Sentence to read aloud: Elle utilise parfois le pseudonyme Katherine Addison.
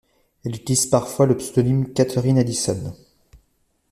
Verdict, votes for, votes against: rejected, 1, 2